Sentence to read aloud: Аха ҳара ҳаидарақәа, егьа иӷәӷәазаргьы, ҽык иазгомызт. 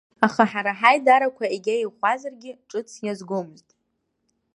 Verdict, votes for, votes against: rejected, 1, 2